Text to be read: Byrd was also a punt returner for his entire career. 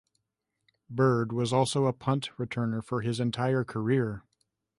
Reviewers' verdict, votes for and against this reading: accepted, 2, 0